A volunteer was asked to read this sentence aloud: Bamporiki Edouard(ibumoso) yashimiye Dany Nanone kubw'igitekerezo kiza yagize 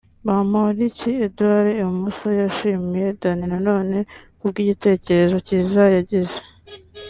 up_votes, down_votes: 2, 0